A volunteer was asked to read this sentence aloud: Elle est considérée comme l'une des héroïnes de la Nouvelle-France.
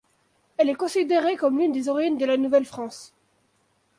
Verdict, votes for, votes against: accepted, 2, 1